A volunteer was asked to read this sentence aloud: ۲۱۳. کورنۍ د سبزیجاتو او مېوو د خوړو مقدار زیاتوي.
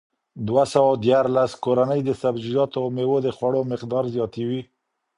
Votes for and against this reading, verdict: 0, 2, rejected